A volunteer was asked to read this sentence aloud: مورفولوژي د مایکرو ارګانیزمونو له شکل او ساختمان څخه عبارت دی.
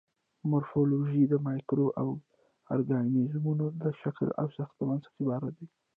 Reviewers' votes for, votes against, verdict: 0, 2, rejected